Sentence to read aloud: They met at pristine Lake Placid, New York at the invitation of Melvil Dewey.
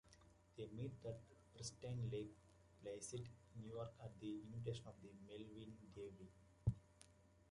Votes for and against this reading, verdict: 0, 2, rejected